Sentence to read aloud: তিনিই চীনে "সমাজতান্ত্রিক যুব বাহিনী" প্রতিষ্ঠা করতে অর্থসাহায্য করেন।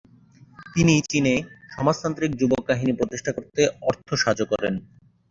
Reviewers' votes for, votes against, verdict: 6, 2, accepted